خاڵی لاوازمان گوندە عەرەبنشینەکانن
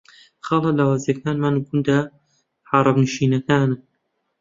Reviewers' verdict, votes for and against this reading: rejected, 1, 2